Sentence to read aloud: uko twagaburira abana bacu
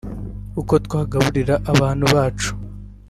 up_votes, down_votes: 0, 2